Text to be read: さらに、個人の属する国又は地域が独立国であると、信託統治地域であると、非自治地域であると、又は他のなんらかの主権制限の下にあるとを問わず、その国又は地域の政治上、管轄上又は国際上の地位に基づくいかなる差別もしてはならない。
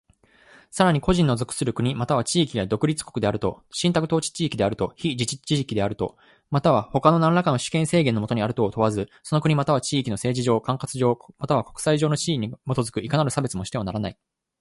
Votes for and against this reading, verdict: 1, 2, rejected